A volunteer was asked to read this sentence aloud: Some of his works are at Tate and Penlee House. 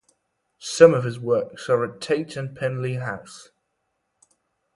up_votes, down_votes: 0, 2